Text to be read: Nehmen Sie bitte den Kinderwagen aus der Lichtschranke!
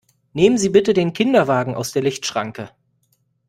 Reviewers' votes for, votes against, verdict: 2, 0, accepted